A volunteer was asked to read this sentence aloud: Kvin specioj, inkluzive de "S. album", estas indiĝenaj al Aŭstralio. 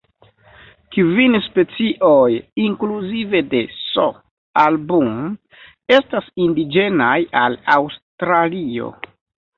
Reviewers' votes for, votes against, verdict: 2, 0, accepted